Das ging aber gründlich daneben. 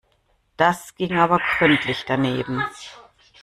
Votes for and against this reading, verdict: 2, 1, accepted